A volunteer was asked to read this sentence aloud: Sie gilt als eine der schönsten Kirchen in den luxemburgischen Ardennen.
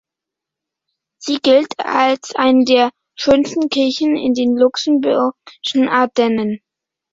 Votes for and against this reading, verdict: 0, 2, rejected